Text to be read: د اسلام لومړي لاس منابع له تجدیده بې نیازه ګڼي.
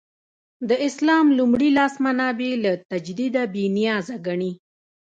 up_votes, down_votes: 2, 0